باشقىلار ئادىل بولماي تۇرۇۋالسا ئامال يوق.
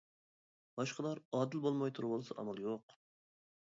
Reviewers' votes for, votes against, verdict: 2, 0, accepted